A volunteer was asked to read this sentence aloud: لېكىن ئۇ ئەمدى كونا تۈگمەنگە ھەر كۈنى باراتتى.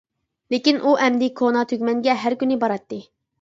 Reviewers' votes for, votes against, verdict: 2, 0, accepted